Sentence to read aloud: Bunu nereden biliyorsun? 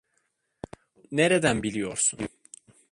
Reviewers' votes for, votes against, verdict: 0, 2, rejected